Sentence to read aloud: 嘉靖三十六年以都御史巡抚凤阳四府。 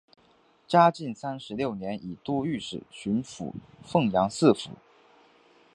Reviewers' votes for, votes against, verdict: 3, 0, accepted